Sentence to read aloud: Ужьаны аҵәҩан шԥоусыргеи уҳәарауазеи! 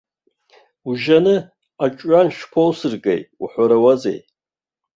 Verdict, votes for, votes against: rejected, 0, 2